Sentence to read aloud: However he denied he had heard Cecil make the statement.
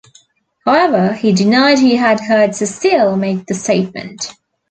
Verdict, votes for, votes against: rejected, 0, 2